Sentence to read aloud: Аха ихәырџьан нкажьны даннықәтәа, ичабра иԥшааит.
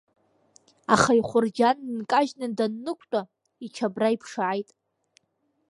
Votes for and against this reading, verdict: 1, 2, rejected